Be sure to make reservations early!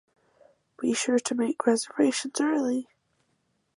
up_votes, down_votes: 4, 0